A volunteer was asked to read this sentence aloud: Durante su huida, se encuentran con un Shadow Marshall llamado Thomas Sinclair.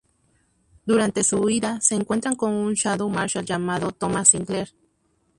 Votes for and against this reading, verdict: 0, 2, rejected